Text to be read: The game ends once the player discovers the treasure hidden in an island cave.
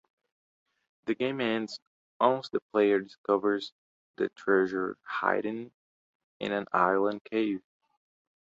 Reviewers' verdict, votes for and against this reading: rejected, 1, 2